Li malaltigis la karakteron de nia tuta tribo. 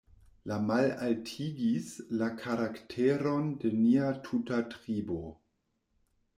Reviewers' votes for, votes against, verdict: 0, 2, rejected